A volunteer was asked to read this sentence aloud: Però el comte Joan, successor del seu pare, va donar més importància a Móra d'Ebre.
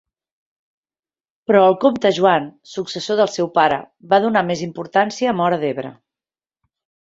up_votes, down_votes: 2, 0